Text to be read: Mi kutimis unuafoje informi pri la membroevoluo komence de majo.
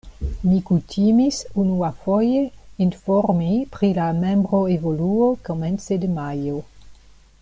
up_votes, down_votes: 2, 0